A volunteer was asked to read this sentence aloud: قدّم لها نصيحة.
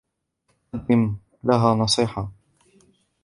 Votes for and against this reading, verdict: 0, 2, rejected